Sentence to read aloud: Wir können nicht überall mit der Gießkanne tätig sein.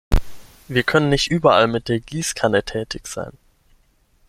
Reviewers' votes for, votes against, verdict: 6, 0, accepted